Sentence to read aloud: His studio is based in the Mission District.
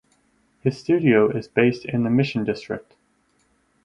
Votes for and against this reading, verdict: 6, 0, accepted